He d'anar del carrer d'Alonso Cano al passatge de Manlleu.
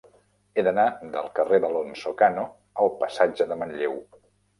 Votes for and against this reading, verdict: 3, 0, accepted